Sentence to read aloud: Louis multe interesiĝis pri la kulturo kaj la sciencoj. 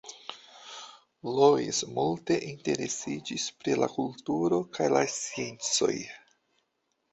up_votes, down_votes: 0, 2